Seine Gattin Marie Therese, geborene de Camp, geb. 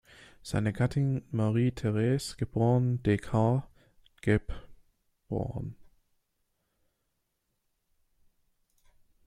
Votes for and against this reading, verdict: 0, 2, rejected